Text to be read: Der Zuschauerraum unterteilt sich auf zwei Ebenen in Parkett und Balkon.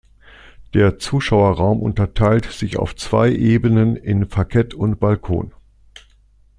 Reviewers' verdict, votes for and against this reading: accepted, 2, 0